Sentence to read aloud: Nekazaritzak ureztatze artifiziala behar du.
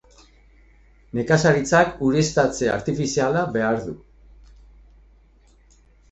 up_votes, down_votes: 3, 0